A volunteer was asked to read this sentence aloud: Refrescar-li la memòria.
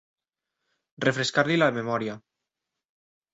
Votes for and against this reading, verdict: 3, 0, accepted